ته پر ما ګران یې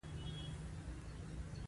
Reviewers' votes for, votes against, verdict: 2, 0, accepted